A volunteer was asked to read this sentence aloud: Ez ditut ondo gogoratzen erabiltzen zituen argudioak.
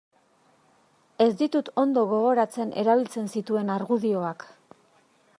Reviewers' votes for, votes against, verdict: 2, 0, accepted